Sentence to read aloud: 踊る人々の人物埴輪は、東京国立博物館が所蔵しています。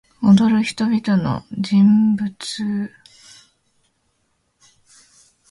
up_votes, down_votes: 1, 2